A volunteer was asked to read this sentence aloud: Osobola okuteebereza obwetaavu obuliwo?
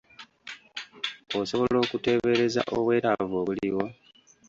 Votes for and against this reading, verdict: 1, 2, rejected